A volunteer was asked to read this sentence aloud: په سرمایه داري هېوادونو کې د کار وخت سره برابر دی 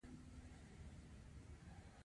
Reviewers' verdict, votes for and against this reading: rejected, 1, 2